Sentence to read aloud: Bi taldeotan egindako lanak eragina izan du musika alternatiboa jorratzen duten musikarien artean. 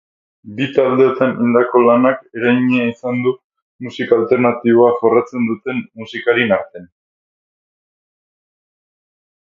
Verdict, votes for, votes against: rejected, 2, 2